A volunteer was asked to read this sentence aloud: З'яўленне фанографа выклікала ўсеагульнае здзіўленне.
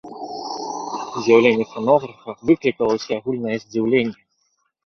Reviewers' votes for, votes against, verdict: 1, 2, rejected